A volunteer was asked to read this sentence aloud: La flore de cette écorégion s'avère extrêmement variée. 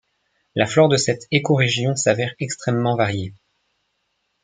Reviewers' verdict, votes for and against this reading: accepted, 2, 0